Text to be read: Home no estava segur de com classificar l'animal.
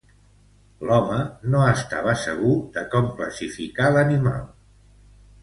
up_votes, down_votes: 0, 2